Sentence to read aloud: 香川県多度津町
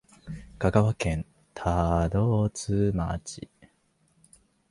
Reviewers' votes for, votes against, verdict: 1, 2, rejected